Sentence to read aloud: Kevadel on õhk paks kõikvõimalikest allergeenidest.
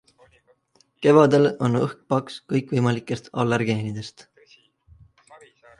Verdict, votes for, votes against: rejected, 1, 2